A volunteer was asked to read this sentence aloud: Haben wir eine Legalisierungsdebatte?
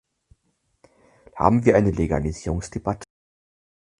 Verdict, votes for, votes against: rejected, 2, 4